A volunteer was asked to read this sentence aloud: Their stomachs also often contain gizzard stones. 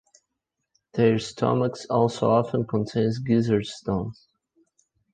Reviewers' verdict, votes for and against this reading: rejected, 0, 2